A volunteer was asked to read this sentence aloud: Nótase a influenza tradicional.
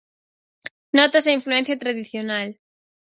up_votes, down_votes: 0, 4